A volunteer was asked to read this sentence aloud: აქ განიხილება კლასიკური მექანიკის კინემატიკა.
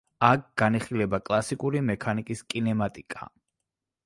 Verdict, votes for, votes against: accepted, 2, 0